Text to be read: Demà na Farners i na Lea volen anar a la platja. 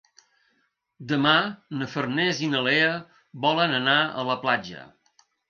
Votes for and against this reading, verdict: 3, 0, accepted